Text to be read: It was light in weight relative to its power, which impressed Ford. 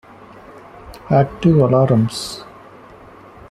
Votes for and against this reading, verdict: 0, 2, rejected